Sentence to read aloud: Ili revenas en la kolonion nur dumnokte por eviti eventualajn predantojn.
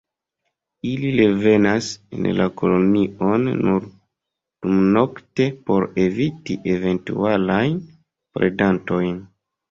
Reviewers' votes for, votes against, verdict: 1, 2, rejected